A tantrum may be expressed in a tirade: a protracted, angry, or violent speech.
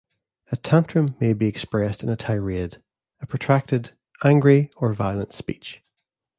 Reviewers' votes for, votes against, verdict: 2, 0, accepted